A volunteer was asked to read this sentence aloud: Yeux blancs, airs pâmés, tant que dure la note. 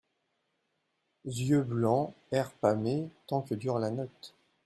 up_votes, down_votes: 1, 2